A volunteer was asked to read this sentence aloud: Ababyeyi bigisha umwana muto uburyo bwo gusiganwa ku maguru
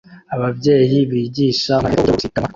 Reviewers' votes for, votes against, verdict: 0, 2, rejected